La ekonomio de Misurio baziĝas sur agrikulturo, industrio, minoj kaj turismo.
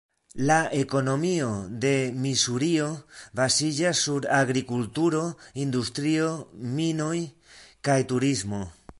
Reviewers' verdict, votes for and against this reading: rejected, 0, 2